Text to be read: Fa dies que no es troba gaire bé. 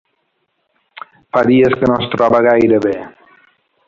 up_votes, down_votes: 2, 0